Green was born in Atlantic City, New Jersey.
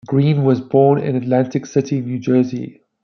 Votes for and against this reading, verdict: 2, 0, accepted